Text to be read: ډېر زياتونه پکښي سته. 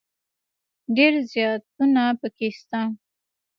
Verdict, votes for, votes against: rejected, 1, 2